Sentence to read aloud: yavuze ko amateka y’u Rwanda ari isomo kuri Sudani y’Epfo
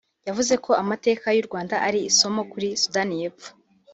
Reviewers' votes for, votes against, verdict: 2, 0, accepted